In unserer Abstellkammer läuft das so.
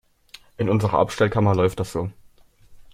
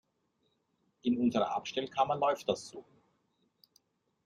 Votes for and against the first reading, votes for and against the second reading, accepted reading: 2, 0, 1, 2, first